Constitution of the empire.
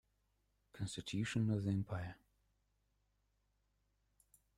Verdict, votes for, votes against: rejected, 1, 2